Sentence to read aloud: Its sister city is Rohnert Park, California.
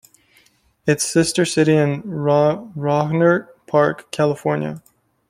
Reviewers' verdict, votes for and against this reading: rejected, 0, 2